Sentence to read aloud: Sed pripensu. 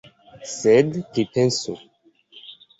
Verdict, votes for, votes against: accepted, 2, 0